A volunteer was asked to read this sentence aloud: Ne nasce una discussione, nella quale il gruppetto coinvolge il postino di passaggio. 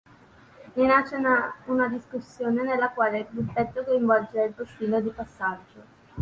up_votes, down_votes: 1, 3